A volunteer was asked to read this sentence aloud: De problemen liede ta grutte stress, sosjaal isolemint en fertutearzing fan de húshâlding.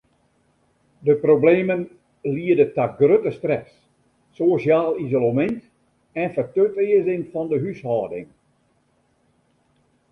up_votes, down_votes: 2, 0